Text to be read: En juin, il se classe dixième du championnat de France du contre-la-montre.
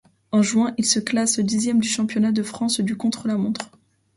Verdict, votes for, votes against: accepted, 2, 0